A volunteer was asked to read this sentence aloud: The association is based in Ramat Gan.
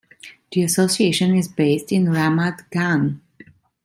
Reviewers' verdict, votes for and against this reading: accepted, 2, 0